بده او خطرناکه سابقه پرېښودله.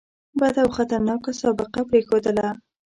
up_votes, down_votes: 2, 0